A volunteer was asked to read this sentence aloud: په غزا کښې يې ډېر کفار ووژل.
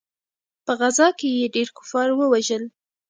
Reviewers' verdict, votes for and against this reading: accepted, 2, 0